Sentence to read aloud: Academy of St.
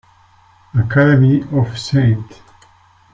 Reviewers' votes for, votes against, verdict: 2, 0, accepted